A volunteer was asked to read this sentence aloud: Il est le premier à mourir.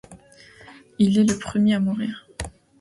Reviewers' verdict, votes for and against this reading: accepted, 2, 0